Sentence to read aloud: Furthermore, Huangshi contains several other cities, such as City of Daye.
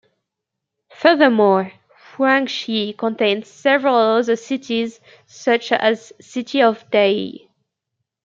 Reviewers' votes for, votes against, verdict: 1, 2, rejected